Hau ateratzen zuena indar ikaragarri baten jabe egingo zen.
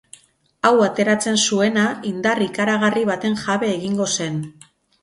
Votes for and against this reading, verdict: 2, 2, rejected